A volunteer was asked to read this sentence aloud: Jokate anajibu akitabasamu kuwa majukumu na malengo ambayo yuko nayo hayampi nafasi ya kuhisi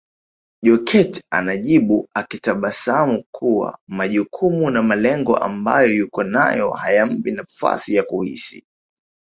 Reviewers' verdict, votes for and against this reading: rejected, 1, 2